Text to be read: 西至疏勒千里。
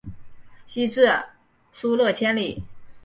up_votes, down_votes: 5, 0